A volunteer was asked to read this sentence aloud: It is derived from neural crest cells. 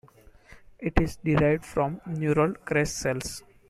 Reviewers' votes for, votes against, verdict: 2, 0, accepted